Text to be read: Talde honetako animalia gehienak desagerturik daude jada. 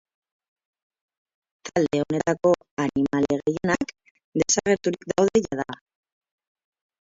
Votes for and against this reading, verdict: 0, 6, rejected